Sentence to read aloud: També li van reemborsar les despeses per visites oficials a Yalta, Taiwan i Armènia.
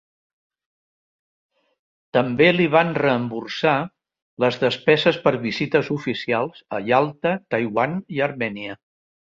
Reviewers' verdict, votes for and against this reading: accepted, 2, 0